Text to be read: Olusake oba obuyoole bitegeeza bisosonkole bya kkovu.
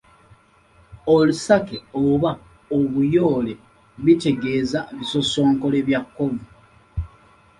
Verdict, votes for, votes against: accepted, 2, 0